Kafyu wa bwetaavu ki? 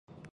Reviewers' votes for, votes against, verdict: 0, 2, rejected